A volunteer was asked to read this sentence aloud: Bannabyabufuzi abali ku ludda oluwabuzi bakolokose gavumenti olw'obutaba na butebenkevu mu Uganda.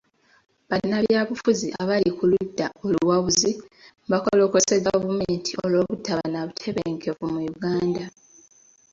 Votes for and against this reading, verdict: 2, 0, accepted